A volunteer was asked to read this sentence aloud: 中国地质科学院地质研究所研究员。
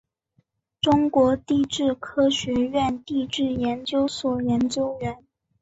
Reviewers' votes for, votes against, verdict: 3, 0, accepted